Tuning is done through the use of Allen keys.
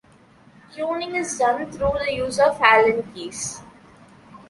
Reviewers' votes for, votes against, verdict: 2, 0, accepted